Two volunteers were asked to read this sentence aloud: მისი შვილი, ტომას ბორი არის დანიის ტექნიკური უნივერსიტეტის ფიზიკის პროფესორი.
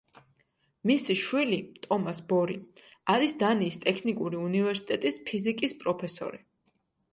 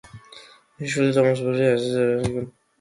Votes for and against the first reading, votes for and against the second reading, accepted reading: 2, 1, 0, 2, first